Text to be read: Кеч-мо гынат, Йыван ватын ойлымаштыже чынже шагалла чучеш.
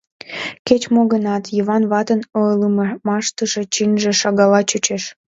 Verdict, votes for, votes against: accepted, 2, 1